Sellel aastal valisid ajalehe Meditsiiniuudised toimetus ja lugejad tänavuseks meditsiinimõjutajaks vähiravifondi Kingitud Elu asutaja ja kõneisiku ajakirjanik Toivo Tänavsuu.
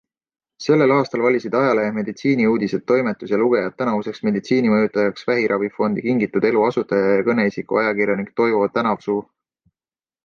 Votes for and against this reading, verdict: 2, 0, accepted